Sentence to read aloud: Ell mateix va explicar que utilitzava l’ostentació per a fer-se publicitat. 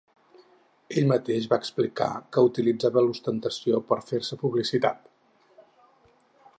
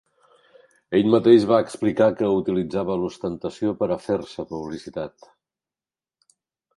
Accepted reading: second